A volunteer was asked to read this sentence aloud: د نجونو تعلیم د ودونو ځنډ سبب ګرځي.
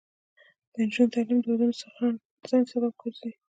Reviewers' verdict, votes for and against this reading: rejected, 1, 2